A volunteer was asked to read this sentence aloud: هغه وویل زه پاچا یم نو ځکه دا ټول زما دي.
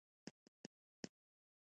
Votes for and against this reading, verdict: 1, 2, rejected